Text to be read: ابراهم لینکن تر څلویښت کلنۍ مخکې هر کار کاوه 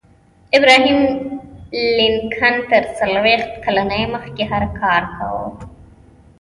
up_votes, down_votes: 2, 1